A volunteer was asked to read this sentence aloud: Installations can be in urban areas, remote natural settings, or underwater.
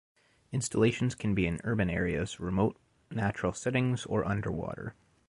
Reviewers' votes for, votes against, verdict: 2, 0, accepted